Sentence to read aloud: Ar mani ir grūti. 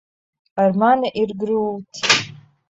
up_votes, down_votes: 0, 2